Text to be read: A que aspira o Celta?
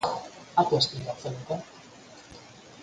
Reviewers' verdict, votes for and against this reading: rejected, 0, 4